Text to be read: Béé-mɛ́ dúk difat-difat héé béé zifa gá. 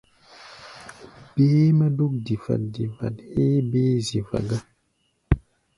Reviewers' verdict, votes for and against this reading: accepted, 2, 0